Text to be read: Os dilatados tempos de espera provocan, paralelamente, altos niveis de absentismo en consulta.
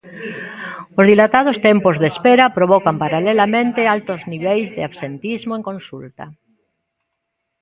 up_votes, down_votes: 2, 1